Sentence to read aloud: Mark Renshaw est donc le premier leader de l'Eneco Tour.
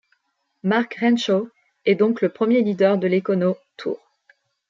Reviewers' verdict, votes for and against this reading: rejected, 0, 2